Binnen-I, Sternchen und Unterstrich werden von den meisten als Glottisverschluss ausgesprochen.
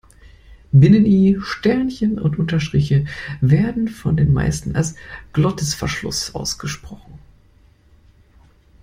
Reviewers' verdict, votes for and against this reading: accepted, 2, 0